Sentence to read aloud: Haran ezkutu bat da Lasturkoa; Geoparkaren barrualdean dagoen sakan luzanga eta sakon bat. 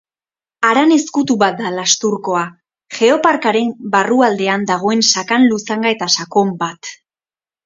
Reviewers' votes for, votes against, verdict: 2, 0, accepted